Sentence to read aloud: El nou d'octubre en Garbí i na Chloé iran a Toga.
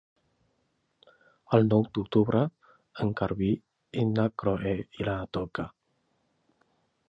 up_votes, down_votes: 0, 2